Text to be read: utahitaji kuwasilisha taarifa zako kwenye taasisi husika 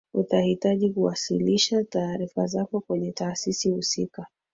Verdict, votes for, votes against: rejected, 2, 3